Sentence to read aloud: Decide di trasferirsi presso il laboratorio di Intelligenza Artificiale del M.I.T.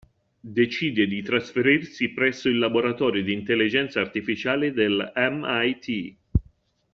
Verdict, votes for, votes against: accepted, 2, 0